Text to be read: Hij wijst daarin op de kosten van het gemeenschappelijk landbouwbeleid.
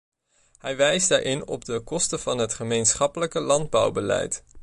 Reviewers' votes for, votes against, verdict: 0, 2, rejected